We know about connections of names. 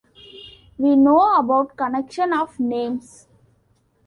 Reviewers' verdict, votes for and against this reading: rejected, 1, 2